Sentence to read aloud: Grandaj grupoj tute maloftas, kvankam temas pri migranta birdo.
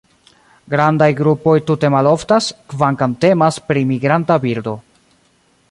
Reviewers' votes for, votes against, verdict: 1, 2, rejected